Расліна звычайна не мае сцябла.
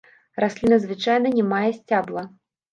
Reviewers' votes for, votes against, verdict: 0, 2, rejected